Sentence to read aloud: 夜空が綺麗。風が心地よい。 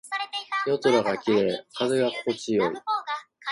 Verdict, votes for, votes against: rejected, 0, 2